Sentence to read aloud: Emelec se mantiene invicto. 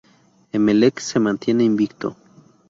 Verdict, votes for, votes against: accepted, 2, 0